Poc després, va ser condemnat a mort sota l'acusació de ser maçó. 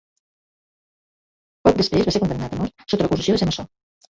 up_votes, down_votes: 0, 2